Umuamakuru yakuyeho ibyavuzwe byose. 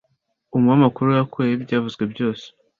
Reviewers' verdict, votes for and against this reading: accepted, 2, 0